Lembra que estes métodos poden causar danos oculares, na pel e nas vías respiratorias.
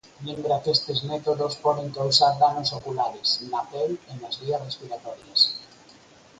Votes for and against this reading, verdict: 2, 4, rejected